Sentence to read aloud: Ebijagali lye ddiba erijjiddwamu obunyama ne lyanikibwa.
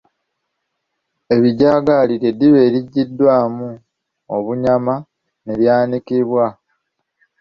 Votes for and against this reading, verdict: 1, 2, rejected